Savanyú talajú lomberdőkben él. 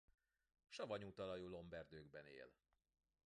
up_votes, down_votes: 2, 1